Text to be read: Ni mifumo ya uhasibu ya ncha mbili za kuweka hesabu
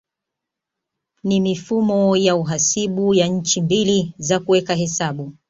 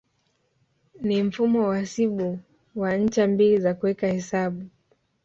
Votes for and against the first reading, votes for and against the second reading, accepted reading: 2, 0, 1, 2, first